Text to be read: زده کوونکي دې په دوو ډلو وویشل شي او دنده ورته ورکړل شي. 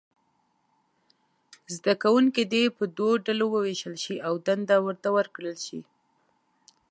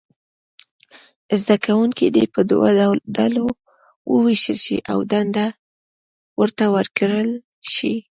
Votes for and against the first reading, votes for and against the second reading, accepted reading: 2, 0, 1, 2, first